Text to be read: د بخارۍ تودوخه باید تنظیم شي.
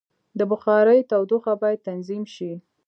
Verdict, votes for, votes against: accepted, 2, 1